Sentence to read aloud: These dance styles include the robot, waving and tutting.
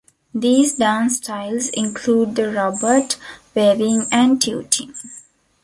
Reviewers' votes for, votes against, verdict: 0, 2, rejected